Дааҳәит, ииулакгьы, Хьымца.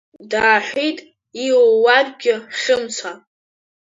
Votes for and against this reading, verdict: 1, 2, rejected